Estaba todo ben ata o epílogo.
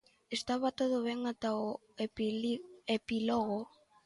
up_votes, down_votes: 0, 3